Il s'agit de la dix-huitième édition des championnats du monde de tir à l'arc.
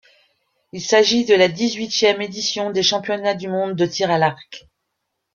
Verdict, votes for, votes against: rejected, 1, 2